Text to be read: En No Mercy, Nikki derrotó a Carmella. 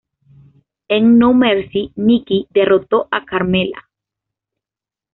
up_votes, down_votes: 2, 0